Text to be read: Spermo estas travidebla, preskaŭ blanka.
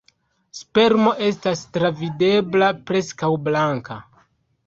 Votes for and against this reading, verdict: 2, 1, accepted